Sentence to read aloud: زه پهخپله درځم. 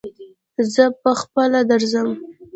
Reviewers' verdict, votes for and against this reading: accepted, 2, 0